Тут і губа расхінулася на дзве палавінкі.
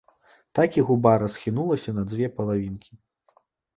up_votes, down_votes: 0, 2